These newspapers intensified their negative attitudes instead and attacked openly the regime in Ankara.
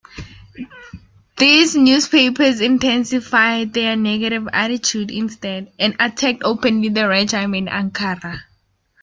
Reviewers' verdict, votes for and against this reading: accepted, 2, 1